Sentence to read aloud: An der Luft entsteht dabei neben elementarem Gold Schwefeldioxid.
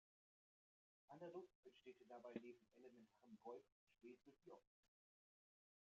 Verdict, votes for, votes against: rejected, 0, 2